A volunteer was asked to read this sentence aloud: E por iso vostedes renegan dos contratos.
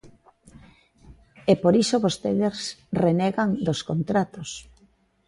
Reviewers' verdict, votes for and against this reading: accepted, 2, 0